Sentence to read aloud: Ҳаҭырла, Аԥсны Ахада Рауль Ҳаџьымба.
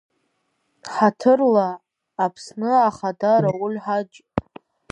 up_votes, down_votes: 1, 2